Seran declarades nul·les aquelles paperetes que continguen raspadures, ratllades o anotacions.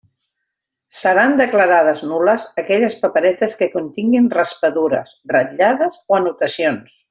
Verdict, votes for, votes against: accepted, 2, 0